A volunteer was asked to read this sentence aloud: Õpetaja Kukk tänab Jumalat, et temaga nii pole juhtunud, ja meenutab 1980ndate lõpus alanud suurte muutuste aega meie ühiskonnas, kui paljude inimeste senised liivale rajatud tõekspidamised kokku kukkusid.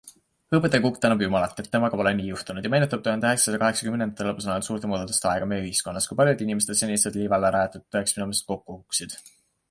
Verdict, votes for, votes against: rejected, 0, 2